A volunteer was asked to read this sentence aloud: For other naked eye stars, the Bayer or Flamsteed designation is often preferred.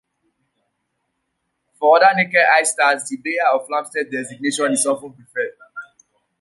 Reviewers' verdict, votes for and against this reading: rejected, 1, 2